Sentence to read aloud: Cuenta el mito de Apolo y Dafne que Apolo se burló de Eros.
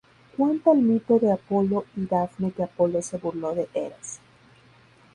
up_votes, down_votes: 2, 0